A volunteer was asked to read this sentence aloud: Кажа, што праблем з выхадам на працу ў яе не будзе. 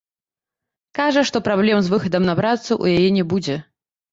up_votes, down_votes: 1, 2